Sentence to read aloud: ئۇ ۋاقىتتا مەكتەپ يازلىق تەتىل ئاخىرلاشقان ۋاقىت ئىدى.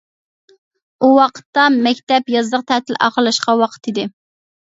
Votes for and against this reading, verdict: 2, 0, accepted